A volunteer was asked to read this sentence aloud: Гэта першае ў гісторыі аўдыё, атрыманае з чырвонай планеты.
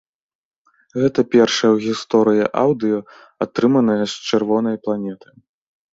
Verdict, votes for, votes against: accepted, 2, 0